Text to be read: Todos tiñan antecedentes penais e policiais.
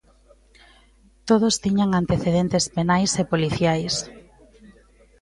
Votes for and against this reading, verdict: 2, 0, accepted